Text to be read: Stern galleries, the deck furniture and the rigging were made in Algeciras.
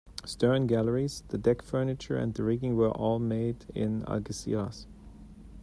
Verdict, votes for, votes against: rejected, 1, 2